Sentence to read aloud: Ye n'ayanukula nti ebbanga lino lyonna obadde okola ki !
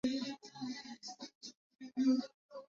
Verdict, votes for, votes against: rejected, 0, 2